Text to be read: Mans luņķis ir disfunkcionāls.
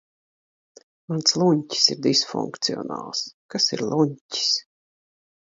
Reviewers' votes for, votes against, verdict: 0, 2, rejected